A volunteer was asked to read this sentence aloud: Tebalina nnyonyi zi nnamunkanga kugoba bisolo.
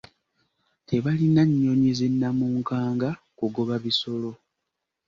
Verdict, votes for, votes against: accepted, 2, 0